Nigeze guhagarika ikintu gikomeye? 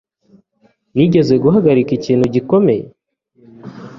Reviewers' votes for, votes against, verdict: 2, 0, accepted